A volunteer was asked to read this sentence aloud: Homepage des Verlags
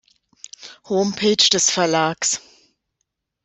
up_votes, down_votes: 2, 0